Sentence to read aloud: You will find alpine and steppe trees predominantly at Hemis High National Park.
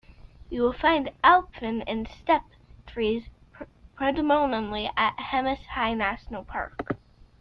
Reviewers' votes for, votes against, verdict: 2, 0, accepted